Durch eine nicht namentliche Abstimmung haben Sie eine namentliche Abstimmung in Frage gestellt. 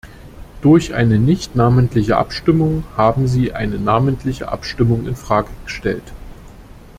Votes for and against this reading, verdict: 2, 0, accepted